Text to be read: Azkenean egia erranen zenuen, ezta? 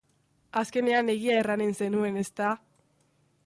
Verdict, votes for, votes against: accepted, 3, 0